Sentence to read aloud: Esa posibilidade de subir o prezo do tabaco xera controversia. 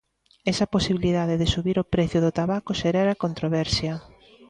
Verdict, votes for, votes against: rejected, 0, 2